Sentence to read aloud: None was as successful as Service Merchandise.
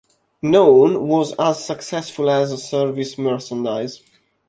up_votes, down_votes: 2, 1